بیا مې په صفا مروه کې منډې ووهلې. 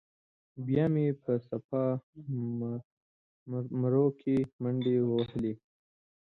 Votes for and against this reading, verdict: 0, 2, rejected